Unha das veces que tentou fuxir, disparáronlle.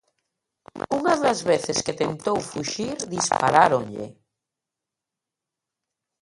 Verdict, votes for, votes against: rejected, 0, 2